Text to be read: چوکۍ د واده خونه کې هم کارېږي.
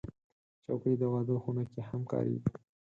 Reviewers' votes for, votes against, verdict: 0, 4, rejected